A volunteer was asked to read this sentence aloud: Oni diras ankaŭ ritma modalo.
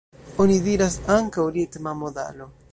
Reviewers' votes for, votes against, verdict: 2, 1, accepted